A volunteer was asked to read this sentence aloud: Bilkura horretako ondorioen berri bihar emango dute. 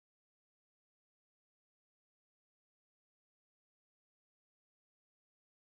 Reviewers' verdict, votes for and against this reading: rejected, 0, 2